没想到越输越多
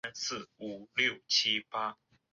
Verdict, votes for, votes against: rejected, 0, 3